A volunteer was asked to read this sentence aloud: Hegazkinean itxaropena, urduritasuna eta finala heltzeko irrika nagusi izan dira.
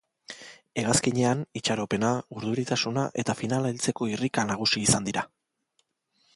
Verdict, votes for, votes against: accepted, 3, 0